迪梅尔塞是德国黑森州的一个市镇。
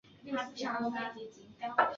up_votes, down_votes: 1, 2